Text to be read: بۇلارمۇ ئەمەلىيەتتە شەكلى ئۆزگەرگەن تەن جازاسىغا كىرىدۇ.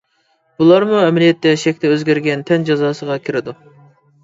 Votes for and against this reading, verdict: 2, 0, accepted